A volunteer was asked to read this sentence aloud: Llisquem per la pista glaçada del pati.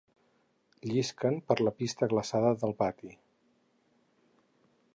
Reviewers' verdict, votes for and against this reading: rejected, 0, 4